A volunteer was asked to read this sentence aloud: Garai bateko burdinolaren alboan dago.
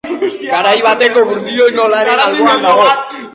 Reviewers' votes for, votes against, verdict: 0, 3, rejected